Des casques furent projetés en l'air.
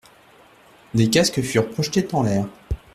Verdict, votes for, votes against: rejected, 0, 2